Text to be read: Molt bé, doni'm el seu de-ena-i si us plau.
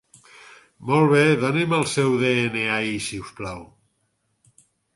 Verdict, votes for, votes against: rejected, 0, 6